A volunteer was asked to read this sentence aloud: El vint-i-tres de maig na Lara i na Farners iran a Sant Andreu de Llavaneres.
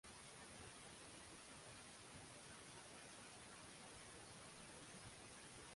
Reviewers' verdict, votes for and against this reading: rejected, 1, 2